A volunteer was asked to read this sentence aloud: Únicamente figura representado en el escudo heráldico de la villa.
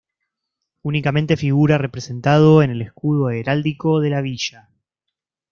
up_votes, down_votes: 2, 1